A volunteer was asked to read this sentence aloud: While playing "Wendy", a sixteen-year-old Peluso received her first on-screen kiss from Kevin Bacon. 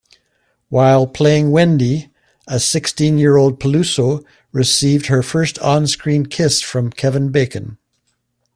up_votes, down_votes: 2, 0